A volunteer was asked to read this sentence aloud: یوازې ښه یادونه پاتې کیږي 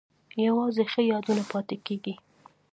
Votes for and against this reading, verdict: 2, 0, accepted